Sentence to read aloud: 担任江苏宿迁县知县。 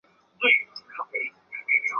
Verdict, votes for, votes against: rejected, 0, 5